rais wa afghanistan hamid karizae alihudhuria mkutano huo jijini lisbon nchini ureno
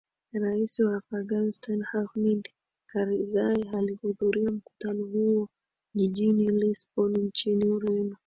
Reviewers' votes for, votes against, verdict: 2, 1, accepted